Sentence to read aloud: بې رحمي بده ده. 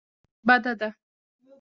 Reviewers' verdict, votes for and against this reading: rejected, 1, 2